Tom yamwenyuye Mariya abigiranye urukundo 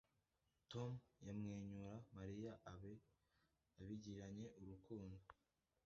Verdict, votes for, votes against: rejected, 1, 2